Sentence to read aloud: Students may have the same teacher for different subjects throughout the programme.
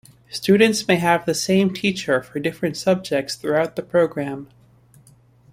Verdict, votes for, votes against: accepted, 2, 0